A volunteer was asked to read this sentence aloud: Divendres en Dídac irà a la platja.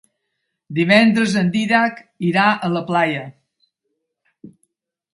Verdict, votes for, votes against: rejected, 0, 2